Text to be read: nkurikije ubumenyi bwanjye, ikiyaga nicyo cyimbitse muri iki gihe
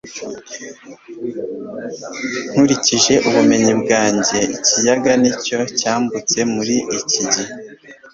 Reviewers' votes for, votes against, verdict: 0, 2, rejected